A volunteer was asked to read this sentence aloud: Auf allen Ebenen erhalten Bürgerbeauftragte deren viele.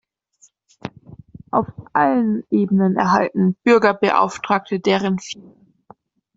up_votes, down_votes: 0, 2